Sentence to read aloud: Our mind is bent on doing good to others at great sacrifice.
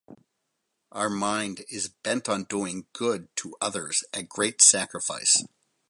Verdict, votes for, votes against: accepted, 2, 0